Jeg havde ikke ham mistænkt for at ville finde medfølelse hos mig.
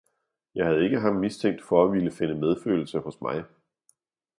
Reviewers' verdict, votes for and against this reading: accepted, 2, 0